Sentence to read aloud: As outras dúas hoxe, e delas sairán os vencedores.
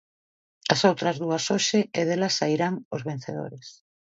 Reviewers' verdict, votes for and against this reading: accepted, 2, 0